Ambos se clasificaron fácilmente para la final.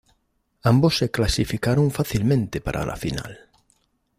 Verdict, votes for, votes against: accepted, 2, 0